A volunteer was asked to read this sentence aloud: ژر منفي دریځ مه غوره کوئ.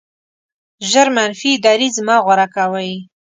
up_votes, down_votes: 2, 0